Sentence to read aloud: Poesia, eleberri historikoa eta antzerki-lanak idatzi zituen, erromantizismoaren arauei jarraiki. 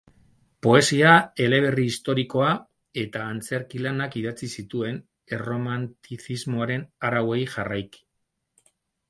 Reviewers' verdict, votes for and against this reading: rejected, 0, 2